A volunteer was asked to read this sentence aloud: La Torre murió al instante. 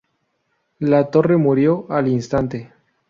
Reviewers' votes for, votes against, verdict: 2, 0, accepted